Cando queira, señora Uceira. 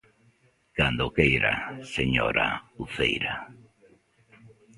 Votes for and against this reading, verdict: 2, 0, accepted